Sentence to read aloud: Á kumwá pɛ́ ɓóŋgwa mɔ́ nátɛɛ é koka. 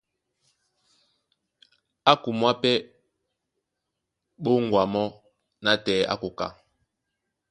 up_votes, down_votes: 1, 2